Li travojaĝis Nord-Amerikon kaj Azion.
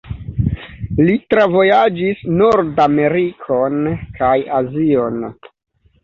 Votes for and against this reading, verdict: 2, 3, rejected